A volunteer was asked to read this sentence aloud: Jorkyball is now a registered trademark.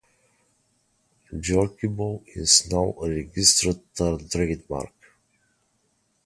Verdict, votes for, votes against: rejected, 0, 4